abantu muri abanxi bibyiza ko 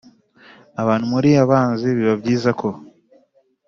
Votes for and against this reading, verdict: 2, 0, accepted